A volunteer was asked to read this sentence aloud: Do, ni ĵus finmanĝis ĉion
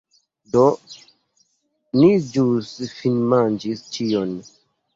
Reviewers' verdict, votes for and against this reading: accepted, 2, 1